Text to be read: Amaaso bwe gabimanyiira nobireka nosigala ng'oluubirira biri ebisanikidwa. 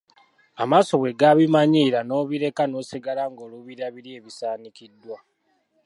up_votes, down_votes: 2, 0